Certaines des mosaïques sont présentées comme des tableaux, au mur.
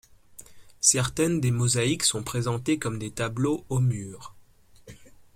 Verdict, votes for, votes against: accepted, 2, 0